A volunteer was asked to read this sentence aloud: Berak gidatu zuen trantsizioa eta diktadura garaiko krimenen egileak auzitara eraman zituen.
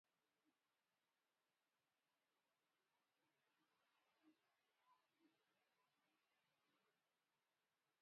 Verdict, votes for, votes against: rejected, 0, 3